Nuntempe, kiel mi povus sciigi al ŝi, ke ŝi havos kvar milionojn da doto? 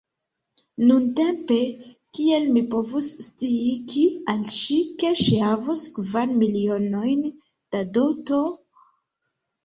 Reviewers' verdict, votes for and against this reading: accepted, 2, 1